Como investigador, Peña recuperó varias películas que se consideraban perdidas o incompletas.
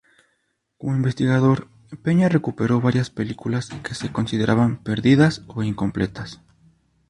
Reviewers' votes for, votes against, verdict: 2, 2, rejected